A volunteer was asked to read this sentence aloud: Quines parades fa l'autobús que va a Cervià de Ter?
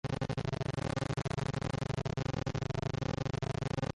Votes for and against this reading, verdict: 0, 2, rejected